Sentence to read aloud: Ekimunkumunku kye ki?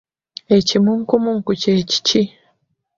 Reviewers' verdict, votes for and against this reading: rejected, 0, 2